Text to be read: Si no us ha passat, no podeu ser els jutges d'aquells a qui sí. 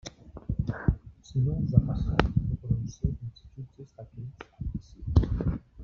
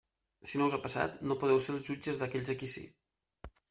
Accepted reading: second